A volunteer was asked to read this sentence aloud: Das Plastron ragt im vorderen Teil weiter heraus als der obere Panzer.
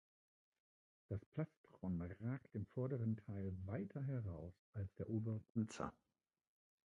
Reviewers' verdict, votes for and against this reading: rejected, 0, 2